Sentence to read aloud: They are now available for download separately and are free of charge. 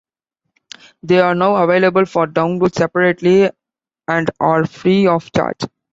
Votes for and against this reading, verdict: 2, 0, accepted